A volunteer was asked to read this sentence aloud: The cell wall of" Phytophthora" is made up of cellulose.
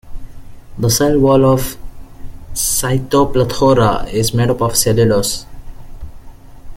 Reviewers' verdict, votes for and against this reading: rejected, 2, 3